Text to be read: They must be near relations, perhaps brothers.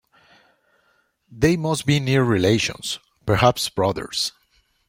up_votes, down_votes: 2, 1